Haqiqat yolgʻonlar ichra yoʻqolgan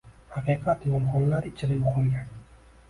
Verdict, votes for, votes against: rejected, 1, 2